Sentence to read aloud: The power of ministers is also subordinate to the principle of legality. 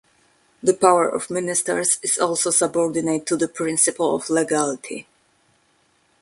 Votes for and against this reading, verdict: 2, 0, accepted